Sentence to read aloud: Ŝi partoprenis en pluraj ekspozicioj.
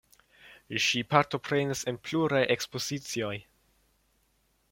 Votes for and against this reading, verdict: 2, 0, accepted